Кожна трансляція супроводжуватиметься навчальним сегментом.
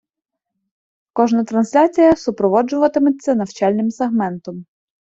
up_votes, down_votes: 2, 0